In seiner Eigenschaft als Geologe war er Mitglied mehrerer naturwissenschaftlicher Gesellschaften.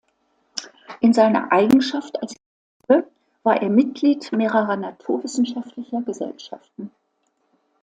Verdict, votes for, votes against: rejected, 0, 2